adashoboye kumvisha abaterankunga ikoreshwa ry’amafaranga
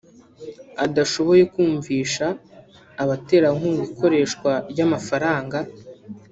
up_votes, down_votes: 1, 2